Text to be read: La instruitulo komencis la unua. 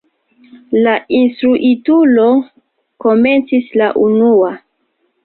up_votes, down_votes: 3, 1